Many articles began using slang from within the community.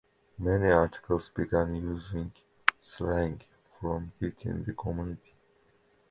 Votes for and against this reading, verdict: 2, 1, accepted